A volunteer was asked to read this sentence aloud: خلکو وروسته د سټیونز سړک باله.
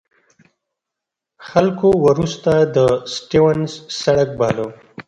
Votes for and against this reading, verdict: 2, 1, accepted